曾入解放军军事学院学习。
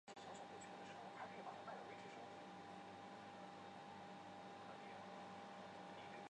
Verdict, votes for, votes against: rejected, 0, 4